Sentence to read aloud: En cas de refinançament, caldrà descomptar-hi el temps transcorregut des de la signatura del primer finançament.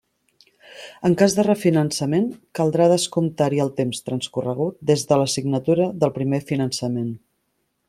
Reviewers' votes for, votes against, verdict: 3, 0, accepted